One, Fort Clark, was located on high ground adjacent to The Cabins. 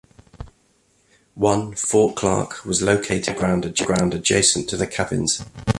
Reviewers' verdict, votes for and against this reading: rejected, 0, 2